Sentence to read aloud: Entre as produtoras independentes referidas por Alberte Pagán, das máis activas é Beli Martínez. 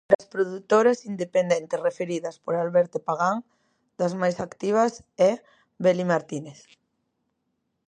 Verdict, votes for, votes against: rejected, 0, 2